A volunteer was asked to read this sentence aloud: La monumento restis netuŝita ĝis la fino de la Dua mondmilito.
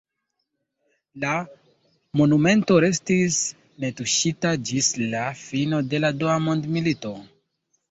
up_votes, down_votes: 1, 2